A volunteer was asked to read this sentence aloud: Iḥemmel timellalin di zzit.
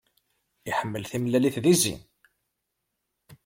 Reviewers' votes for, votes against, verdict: 1, 2, rejected